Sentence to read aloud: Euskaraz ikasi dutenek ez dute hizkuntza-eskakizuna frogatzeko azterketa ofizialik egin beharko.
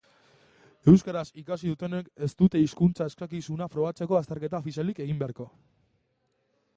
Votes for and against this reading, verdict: 0, 2, rejected